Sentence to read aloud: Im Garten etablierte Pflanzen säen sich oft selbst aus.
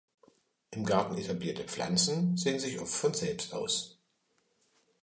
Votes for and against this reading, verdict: 2, 0, accepted